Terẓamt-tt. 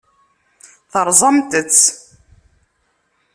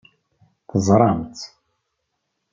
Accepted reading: first